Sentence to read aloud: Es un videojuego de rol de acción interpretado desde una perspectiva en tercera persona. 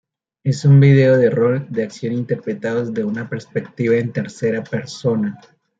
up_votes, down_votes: 1, 2